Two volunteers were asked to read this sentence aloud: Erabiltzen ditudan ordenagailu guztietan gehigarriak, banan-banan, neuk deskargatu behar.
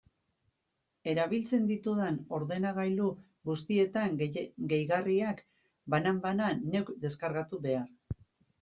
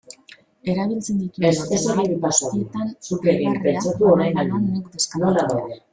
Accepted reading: first